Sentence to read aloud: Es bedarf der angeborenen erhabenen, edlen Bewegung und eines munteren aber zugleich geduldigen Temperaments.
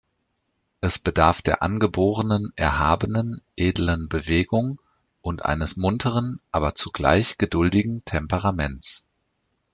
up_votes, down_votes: 2, 0